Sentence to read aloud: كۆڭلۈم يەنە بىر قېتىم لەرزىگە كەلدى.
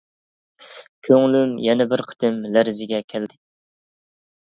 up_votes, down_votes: 2, 0